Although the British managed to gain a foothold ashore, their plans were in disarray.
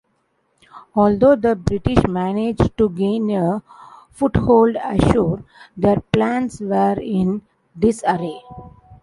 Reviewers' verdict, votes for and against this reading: accepted, 2, 0